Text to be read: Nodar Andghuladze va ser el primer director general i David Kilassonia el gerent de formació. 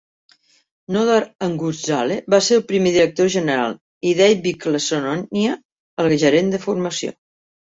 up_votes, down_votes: 1, 2